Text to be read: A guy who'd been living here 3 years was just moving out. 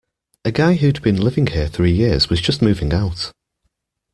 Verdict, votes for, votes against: rejected, 0, 2